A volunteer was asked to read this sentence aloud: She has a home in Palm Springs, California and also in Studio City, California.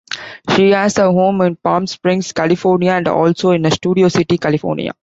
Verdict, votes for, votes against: rejected, 1, 2